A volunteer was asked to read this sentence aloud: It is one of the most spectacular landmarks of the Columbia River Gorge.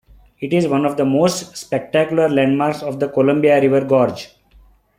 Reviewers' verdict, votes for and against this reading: accepted, 2, 0